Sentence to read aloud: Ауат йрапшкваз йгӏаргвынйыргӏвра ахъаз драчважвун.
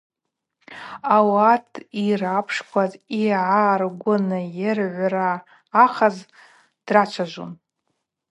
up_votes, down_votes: 4, 2